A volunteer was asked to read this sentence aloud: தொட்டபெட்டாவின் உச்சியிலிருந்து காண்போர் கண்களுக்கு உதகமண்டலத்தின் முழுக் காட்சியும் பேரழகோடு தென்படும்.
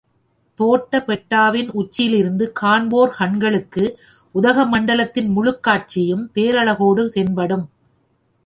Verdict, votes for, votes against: rejected, 1, 2